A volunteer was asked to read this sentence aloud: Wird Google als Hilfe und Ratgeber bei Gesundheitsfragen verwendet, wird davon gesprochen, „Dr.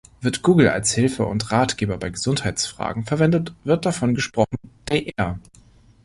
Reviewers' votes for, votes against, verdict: 1, 2, rejected